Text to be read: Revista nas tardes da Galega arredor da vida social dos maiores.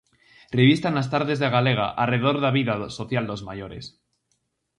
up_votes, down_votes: 2, 2